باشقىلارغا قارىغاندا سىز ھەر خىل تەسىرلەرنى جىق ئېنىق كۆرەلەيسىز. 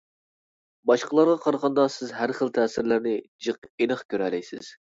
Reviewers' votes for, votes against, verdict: 2, 0, accepted